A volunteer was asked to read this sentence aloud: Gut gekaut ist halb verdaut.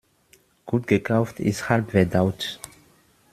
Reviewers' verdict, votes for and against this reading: rejected, 0, 2